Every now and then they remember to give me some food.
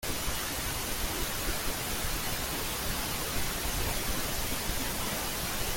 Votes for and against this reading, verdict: 0, 2, rejected